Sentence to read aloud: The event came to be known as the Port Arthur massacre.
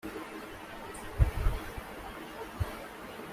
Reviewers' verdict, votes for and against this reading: rejected, 0, 2